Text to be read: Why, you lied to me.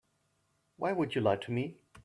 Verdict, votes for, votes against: rejected, 0, 2